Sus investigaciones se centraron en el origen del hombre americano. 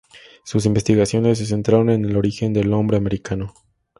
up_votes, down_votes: 4, 0